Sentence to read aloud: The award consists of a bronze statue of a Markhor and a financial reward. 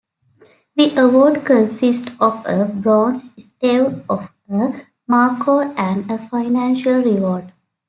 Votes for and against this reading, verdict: 0, 2, rejected